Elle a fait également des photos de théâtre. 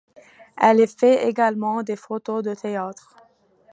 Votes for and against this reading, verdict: 2, 1, accepted